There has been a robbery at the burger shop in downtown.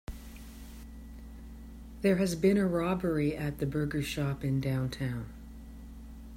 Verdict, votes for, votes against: accepted, 3, 0